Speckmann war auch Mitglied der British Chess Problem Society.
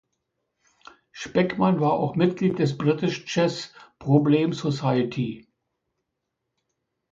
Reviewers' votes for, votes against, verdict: 0, 2, rejected